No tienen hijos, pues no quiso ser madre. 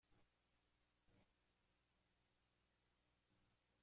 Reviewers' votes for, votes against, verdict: 0, 2, rejected